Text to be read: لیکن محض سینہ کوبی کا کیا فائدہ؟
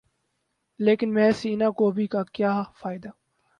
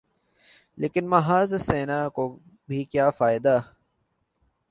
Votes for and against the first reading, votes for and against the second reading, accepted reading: 0, 2, 2, 1, second